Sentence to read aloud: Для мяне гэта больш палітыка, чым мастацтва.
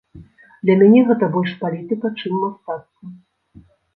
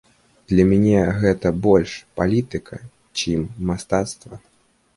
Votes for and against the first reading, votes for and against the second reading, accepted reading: 1, 2, 2, 1, second